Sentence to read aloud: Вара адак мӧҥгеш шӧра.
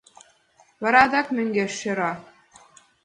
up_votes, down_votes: 2, 1